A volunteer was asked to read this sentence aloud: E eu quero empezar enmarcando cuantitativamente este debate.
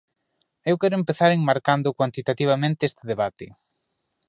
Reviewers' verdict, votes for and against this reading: rejected, 1, 2